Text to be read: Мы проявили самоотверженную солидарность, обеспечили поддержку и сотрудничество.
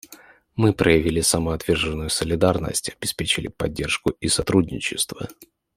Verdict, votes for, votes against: accepted, 2, 0